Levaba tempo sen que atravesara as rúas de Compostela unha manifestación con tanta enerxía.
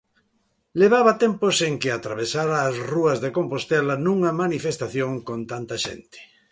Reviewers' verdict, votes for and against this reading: rejected, 0, 2